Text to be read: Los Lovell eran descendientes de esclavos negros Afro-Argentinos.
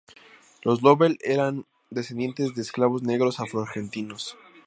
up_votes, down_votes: 2, 0